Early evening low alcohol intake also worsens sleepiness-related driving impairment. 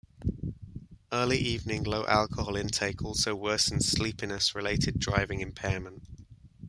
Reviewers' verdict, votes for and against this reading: accepted, 2, 0